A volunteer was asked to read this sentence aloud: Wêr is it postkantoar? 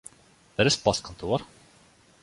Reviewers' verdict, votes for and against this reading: accepted, 2, 0